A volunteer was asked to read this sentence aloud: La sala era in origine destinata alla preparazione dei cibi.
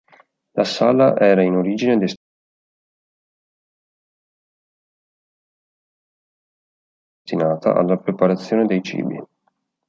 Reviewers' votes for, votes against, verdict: 1, 3, rejected